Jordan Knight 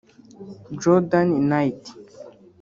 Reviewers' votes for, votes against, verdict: 1, 2, rejected